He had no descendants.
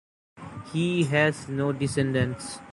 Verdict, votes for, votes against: rejected, 0, 2